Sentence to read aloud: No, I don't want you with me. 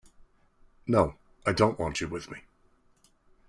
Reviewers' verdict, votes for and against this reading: accepted, 2, 0